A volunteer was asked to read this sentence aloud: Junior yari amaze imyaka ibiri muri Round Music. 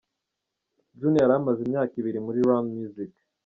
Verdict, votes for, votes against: rejected, 1, 2